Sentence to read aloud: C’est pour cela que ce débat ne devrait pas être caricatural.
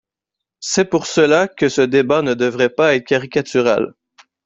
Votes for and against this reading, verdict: 1, 3, rejected